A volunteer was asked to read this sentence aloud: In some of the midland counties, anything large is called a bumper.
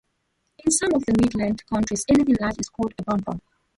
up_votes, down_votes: 0, 2